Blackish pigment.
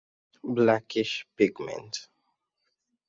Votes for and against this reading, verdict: 2, 0, accepted